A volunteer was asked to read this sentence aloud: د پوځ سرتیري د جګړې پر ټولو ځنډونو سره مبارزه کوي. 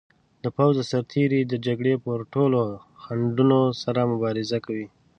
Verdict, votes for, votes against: rejected, 0, 2